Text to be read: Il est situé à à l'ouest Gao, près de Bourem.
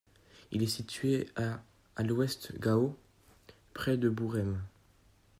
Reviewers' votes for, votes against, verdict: 2, 0, accepted